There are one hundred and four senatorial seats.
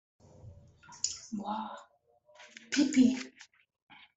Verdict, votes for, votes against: rejected, 0, 2